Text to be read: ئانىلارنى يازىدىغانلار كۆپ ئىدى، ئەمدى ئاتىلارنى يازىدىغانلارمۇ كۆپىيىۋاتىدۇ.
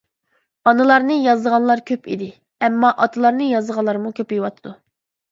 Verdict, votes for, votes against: rejected, 0, 2